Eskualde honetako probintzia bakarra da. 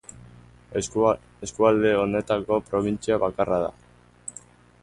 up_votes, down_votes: 0, 3